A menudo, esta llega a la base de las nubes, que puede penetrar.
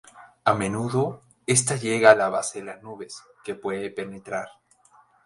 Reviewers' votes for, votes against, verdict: 0, 2, rejected